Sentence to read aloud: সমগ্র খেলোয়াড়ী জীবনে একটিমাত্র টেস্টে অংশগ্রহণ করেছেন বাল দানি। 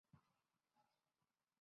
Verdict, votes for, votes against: rejected, 0, 2